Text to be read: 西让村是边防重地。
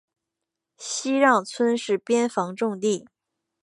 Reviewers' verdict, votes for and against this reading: accepted, 3, 0